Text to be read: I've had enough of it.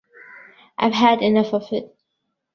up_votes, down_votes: 2, 1